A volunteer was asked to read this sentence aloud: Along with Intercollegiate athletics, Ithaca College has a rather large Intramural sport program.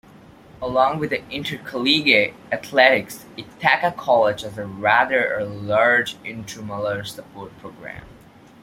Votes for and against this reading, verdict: 1, 2, rejected